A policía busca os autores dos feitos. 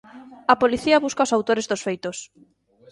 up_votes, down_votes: 2, 0